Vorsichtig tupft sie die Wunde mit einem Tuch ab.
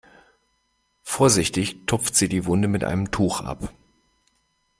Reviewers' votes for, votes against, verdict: 2, 0, accepted